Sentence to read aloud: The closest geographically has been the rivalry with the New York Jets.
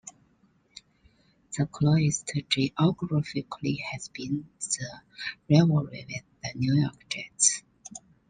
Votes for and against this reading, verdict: 0, 2, rejected